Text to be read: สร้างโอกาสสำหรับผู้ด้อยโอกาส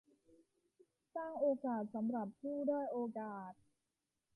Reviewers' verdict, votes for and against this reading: rejected, 1, 2